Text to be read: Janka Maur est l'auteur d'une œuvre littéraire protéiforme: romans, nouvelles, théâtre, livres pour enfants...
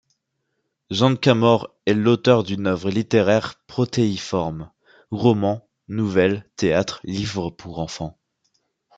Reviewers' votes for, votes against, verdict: 2, 0, accepted